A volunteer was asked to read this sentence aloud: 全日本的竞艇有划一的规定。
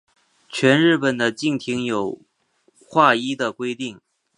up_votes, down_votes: 3, 0